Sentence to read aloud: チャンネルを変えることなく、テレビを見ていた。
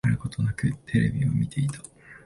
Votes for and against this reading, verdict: 1, 2, rejected